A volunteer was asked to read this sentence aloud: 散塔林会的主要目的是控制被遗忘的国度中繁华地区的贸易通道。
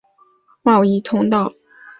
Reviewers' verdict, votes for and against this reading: rejected, 1, 2